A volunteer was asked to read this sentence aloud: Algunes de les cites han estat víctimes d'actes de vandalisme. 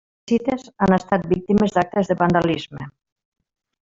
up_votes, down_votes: 0, 2